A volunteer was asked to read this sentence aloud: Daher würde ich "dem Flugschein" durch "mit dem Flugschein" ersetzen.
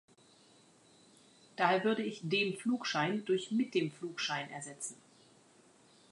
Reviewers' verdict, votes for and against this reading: accepted, 2, 0